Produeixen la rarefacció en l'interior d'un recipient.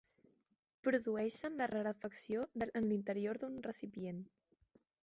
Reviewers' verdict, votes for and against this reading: rejected, 1, 2